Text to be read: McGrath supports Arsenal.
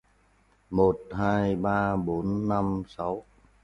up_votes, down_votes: 0, 3